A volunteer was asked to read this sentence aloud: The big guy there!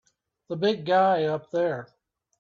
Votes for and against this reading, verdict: 0, 2, rejected